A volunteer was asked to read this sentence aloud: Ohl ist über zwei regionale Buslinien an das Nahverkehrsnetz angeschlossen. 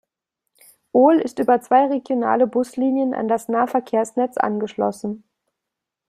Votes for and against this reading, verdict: 2, 0, accepted